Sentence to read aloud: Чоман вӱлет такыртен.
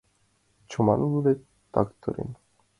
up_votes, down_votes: 2, 0